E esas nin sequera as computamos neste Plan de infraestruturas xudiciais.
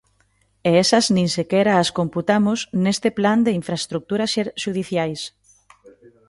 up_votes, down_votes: 1, 2